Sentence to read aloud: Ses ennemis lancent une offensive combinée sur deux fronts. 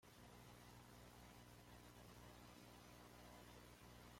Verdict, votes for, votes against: rejected, 1, 2